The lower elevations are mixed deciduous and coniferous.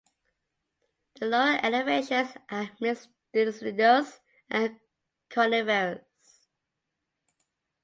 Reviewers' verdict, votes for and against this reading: rejected, 1, 2